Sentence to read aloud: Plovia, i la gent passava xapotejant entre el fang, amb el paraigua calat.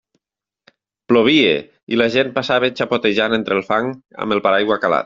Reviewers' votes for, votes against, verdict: 2, 1, accepted